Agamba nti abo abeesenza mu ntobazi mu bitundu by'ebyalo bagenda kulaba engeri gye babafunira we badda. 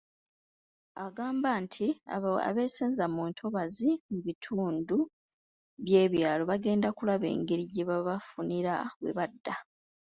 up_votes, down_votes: 2, 0